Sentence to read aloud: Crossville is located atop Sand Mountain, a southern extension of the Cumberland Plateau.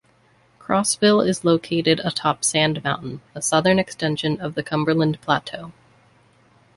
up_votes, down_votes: 2, 0